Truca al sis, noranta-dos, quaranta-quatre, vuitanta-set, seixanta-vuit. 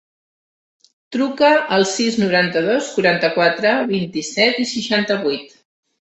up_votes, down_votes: 0, 3